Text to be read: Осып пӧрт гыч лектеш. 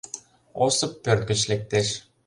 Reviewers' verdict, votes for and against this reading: accepted, 2, 0